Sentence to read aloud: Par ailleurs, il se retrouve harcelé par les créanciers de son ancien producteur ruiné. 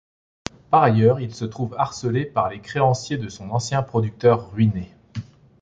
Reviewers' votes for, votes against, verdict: 1, 3, rejected